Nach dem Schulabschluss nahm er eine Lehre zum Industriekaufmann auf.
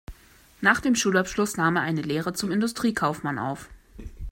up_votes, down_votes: 2, 0